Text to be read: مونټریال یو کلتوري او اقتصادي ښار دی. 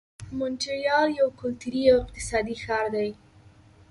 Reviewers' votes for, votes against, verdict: 1, 2, rejected